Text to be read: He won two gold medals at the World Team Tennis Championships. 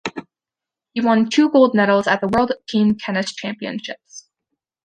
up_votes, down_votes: 2, 0